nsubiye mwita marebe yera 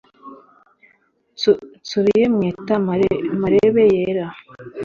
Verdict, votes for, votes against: rejected, 1, 2